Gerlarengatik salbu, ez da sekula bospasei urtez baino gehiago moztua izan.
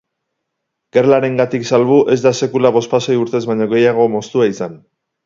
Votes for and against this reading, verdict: 2, 0, accepted